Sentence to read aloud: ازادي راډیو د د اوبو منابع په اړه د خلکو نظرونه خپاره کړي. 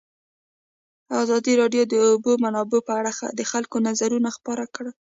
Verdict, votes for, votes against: accepted, 2, 0